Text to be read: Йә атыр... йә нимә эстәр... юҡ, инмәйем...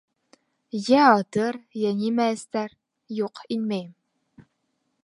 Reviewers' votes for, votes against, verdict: 2, 0, accepted